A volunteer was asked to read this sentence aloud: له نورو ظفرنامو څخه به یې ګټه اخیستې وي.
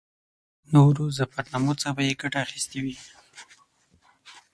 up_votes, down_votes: 3, 6